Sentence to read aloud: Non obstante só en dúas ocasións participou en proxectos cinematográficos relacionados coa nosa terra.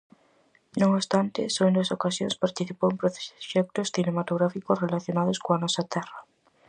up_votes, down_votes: 2, 2